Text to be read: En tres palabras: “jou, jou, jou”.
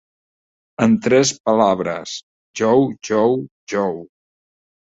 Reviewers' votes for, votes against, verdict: 1, 2, rejected